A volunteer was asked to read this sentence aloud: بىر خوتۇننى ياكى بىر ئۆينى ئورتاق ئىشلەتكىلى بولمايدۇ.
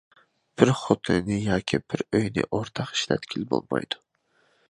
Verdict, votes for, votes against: rejected, 0, 2